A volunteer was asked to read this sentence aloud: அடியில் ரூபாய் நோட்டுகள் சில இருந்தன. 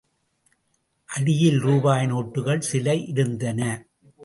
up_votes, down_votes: 2, 0